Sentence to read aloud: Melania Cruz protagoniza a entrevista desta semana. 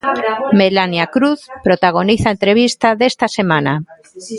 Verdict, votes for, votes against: accepted, 2, 0